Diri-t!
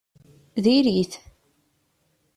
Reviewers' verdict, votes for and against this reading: accepted, 2, 0